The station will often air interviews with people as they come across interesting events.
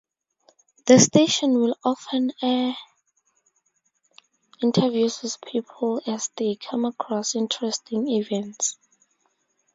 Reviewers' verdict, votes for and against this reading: rejected, 0, 2